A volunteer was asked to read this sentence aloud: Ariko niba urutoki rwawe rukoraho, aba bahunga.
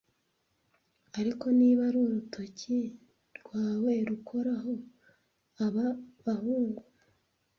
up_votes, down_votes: 1, 2